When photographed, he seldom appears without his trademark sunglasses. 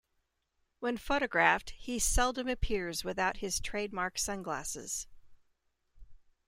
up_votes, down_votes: 2, 1